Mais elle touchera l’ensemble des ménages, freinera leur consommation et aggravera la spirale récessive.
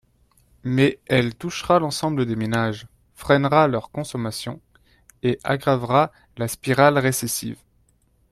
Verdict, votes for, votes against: accepted, 2, 1